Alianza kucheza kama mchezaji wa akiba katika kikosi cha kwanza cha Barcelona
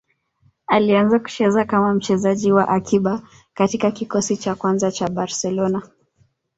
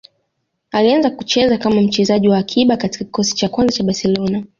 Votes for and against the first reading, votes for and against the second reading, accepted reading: 1, 2, 2, 0, second